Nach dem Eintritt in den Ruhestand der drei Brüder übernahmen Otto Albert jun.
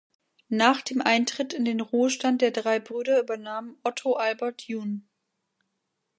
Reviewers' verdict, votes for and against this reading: rejected, 1, 2